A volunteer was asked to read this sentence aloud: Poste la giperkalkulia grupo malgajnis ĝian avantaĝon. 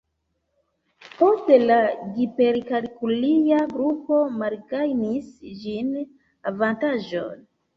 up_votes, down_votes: 0, 2